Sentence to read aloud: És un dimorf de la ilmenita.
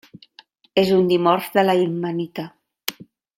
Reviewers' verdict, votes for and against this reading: accepted, 2, 0